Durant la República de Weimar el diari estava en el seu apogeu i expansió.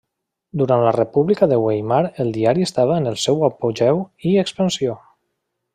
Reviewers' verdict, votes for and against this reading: rejected, 1, 2